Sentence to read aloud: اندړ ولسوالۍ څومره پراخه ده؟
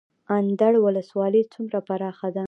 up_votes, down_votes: 2, 0